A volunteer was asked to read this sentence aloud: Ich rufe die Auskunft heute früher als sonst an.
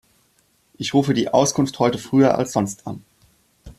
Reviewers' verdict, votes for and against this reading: accepted, 2, 0